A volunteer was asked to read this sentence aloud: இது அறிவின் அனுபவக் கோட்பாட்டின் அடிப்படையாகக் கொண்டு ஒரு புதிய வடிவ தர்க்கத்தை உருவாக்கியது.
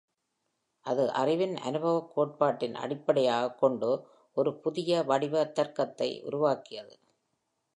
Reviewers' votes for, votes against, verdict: 1, 2, rejected